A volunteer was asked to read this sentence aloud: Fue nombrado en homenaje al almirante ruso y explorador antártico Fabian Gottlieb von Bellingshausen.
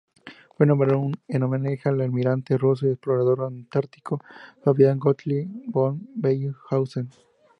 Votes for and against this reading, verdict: 0, 2, rejected